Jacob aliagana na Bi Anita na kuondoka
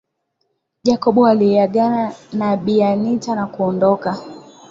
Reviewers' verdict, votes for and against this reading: accepted, 4, 2